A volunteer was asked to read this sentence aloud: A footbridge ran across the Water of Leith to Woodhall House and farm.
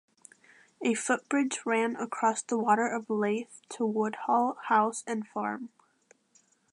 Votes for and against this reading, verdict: 2, 0, accepted